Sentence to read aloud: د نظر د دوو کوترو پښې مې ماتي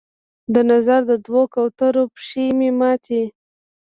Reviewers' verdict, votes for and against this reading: rejected, 0, 2